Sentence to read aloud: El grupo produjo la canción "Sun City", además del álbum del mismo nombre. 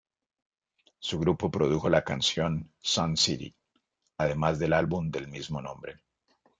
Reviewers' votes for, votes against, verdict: 1, 2, rejected